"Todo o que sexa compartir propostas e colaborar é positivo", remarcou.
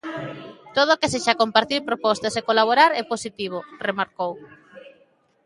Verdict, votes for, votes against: rejected, 0, 2